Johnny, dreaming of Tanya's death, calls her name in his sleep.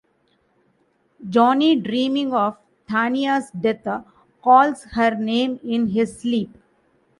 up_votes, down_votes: 2, 0